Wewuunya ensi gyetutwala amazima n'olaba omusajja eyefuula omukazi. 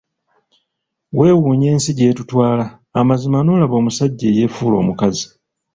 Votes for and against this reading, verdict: 2, 0, accepted